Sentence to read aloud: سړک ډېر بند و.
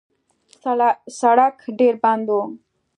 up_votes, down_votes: 2, 0